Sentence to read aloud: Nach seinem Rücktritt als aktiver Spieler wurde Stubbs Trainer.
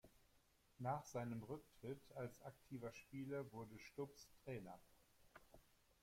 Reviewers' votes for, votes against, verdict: 2, 1, accepted